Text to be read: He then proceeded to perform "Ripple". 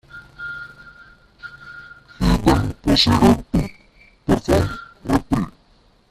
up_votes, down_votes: 0, 2